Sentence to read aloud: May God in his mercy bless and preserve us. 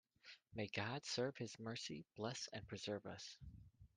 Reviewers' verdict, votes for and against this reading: rejected, 0, 2